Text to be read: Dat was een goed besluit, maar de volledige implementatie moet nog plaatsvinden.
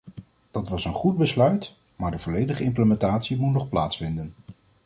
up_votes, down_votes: 2, 0